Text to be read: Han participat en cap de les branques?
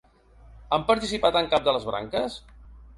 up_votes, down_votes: 3, 0